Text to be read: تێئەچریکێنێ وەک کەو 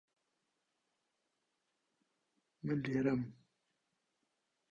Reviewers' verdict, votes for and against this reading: rejected, 0, 2